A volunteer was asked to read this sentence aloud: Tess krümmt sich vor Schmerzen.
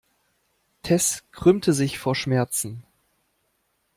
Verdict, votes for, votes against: rejected, 0, 2